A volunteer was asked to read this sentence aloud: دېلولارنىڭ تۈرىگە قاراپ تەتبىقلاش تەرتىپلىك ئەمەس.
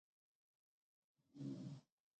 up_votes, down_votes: 0, 2